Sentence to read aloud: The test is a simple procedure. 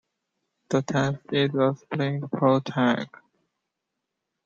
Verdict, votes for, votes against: rejected, 0, 2